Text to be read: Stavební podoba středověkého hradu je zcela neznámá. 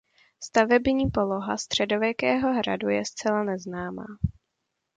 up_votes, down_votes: 0, 2